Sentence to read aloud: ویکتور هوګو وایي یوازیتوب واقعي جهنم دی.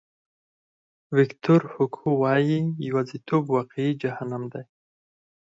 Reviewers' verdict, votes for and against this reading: accepted, 4, 0